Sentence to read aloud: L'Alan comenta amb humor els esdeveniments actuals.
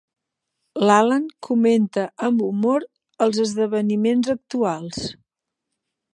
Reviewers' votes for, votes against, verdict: 3, 0, accepted